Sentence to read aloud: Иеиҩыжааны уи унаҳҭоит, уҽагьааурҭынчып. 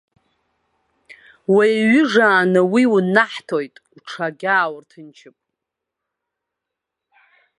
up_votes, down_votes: 0, 2